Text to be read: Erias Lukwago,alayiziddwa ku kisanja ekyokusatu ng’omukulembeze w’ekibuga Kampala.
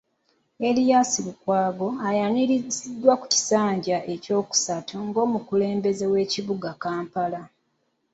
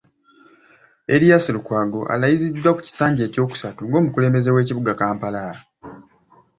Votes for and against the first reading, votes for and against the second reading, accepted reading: 0, 2, 2, 0, second